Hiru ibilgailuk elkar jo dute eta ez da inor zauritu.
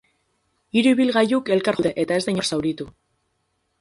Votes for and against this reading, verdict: 0, 6, rejected